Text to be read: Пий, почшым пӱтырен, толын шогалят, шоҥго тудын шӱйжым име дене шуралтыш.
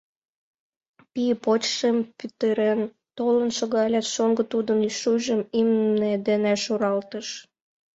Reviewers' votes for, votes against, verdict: 1, 2, rejected